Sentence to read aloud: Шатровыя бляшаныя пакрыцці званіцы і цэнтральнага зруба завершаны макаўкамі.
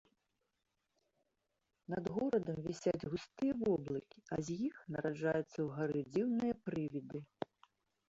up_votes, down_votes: 0, 2